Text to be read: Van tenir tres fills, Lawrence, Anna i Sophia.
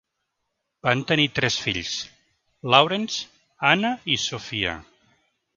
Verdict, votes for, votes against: accepted, 3, 0